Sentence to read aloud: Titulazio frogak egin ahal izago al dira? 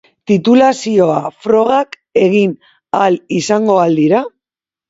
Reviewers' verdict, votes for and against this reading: rejected, 0, 2